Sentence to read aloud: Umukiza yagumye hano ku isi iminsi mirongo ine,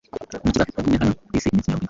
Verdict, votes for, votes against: rejected, 1, 2